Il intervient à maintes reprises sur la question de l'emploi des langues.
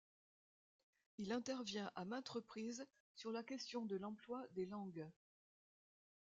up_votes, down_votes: 1, 2